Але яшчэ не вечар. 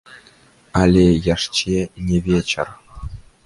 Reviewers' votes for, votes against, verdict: 1, 3, rejected